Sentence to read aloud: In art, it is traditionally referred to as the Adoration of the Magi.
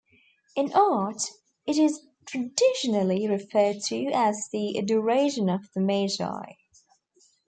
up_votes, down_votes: 0, 2